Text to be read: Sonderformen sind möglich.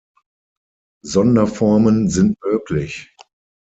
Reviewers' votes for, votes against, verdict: 6, 0, accepted